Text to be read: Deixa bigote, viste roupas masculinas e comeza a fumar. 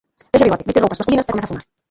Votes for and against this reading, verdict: 0, 2, rejected